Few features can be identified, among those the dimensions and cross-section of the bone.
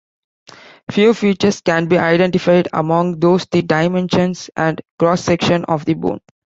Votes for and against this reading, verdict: 3, 0, accepted